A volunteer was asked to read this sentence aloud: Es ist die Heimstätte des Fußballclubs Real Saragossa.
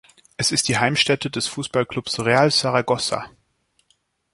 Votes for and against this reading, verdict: 2, 0, accepted